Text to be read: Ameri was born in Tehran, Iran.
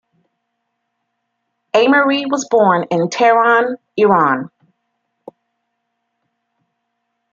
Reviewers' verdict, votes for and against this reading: accepted, 2, 0